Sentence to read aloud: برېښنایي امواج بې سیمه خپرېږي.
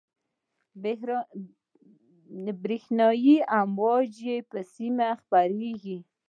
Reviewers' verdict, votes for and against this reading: accepted, 2, 0